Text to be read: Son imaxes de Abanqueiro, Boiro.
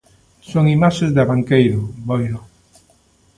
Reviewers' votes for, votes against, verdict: 2, 0, accepted